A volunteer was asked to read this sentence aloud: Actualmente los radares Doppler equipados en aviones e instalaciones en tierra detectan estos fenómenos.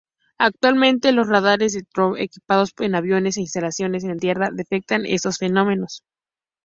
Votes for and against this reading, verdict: 2, 0, accepted